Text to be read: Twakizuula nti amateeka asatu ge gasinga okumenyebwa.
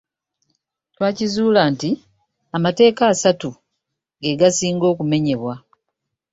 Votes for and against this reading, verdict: 2, 0, accepted